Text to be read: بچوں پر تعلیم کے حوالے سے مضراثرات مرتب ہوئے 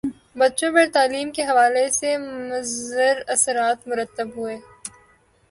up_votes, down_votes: 4, 0